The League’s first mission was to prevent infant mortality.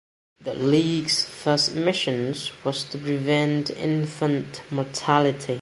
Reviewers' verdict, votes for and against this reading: rejected, 1, 2